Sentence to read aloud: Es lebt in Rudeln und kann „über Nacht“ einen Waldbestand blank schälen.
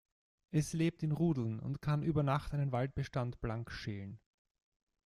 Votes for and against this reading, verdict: 2, 1, accepted